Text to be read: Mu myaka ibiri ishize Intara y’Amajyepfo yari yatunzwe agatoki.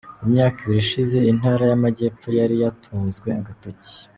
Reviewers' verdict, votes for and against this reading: accepted, 2, 0